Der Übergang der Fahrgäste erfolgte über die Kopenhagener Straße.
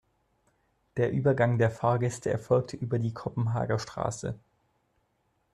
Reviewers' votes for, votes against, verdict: 0, 2, rejected